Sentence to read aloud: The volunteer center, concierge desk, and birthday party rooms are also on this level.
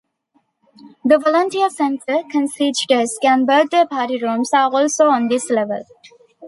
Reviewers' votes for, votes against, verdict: 0, 2, rejected